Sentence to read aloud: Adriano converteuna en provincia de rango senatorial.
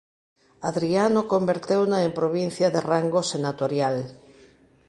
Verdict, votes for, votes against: accepted, 2, 1